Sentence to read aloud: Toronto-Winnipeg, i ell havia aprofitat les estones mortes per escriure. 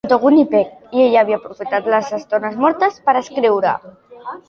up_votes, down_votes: 0, 2